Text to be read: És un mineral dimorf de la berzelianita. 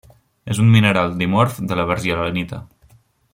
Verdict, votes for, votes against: rejected, 0, 2